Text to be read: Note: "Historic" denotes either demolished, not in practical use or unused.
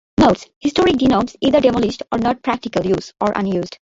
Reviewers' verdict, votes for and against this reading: rejected, 0, 2